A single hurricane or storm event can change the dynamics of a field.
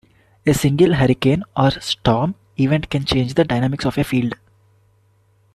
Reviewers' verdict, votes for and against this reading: rejected, 1, 2